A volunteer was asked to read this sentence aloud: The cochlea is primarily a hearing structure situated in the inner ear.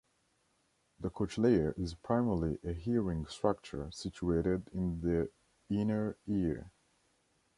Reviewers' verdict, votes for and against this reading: rejected, 0, 2